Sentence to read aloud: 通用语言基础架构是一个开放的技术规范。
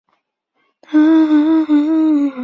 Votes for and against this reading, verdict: 0, 3, rejected